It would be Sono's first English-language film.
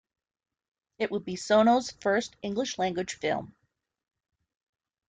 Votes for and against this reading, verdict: 2, 0, accepted